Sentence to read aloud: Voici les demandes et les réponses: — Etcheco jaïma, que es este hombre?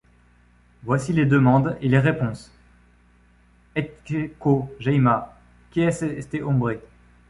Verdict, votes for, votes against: rejected, 1, 2